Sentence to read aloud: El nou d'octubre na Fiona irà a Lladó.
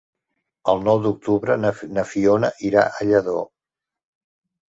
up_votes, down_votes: 0, 2